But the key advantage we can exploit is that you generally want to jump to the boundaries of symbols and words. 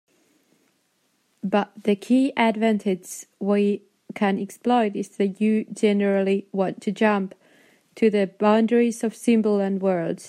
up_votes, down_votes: 1, 2